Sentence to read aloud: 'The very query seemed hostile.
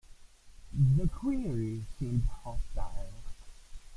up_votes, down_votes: 0, 2